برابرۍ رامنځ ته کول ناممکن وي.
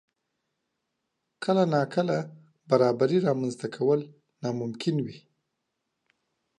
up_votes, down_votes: 1, 2